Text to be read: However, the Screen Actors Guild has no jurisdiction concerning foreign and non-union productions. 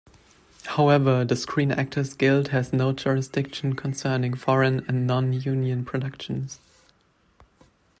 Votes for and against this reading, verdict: 2, 0, accepted